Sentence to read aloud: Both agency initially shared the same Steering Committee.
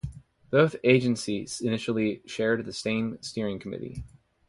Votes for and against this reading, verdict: 2, 2, rejected